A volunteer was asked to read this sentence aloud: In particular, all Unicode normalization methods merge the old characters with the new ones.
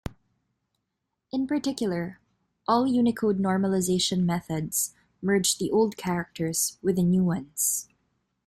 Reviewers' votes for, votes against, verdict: 2, 0, accepted